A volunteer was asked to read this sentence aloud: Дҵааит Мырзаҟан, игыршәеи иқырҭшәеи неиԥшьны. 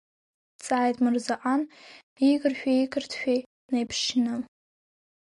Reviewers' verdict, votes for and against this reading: accepted, 2, 0